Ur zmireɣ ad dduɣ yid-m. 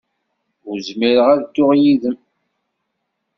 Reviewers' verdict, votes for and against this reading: accepted, 2, 0